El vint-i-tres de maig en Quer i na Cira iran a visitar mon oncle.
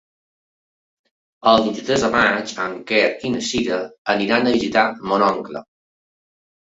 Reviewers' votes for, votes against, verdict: 0, 2, rejected